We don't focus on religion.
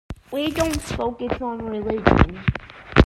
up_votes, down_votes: 2, 0